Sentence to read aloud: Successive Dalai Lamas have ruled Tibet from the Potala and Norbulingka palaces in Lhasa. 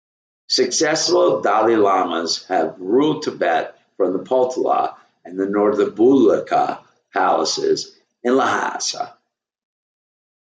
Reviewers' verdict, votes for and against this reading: rejected, 1, 2